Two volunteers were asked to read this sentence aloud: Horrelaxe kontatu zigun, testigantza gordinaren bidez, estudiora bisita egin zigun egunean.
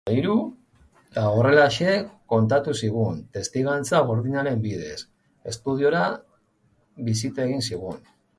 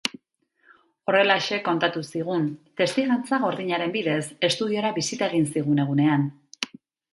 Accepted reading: second